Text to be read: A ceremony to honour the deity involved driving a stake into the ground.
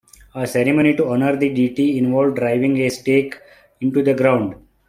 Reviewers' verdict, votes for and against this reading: accepted, 2, 1